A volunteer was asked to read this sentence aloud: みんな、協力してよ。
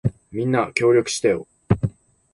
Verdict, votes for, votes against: accepted, 2, 1